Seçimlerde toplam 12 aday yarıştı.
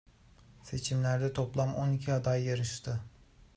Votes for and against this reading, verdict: 0, 2, rejected